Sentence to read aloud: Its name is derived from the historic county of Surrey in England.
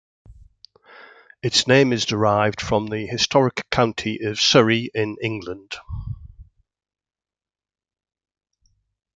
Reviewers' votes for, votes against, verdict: 2, 0, accepted